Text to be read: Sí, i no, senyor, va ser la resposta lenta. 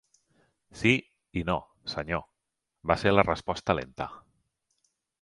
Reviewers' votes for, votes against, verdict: 3, 0, accepted